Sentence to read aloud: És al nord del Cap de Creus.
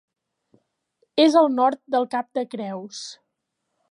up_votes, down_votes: 2, 0